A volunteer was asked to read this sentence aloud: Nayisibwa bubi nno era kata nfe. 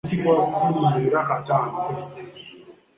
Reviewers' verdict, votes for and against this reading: rejected, 1, 2